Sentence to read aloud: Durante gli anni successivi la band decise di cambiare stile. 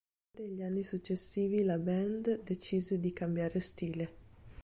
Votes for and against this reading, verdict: 0, 2, rejected